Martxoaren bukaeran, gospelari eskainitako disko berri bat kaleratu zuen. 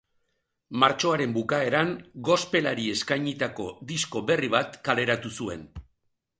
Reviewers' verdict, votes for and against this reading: accepted, 2, 0